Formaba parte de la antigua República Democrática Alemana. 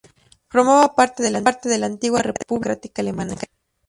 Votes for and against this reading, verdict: 0, 2, rejected